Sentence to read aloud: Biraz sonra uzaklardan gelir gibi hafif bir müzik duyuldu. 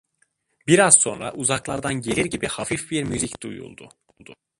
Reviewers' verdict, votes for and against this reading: rejected, 0, 2